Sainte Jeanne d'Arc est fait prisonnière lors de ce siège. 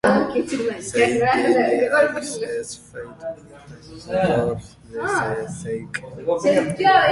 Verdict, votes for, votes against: rejected, 0, 2